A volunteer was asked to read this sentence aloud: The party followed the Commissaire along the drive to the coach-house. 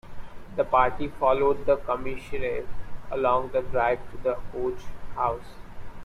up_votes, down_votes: 0, 2